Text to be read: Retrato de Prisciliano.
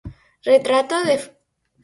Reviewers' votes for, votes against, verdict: 0, 4, rejected